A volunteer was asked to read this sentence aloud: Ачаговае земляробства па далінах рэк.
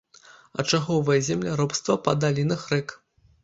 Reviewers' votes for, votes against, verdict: 3, 0, accepted